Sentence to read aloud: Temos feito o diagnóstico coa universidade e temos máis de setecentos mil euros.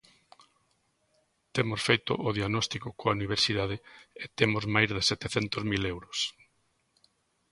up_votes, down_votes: 2, 0